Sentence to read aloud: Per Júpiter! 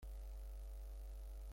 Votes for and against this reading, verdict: 0, 2, rejected